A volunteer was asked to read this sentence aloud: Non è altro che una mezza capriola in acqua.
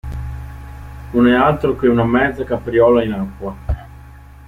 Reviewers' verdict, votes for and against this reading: accepted, 2, 1